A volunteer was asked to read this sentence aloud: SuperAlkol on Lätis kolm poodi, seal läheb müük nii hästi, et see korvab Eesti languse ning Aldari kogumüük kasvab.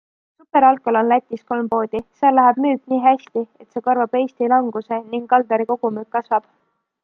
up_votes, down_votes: 2, 0